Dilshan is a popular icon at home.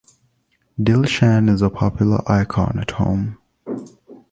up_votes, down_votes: 2, 0